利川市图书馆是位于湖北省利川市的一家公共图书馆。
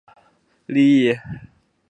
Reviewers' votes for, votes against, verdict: 1, 2, rejected